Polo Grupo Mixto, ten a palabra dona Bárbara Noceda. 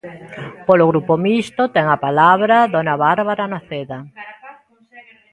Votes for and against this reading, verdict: 2, 0, accepted